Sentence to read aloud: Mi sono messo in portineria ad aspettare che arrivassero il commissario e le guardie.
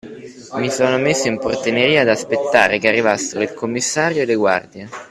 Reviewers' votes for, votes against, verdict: 1, 2, rejected